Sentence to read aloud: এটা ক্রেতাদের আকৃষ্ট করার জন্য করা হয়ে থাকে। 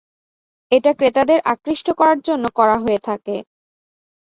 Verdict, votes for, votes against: accepted, 2, 0